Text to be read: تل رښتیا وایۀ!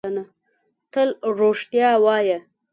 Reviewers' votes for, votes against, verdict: 2, 0, accepted